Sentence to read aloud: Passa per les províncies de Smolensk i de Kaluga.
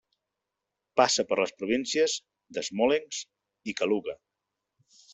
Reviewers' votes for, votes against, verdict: 0, 2, rejected